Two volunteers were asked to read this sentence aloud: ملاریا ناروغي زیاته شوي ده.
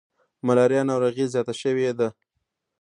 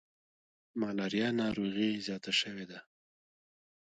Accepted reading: first